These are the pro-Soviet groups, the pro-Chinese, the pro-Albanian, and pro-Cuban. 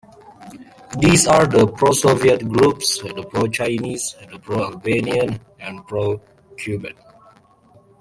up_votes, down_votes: 1, 3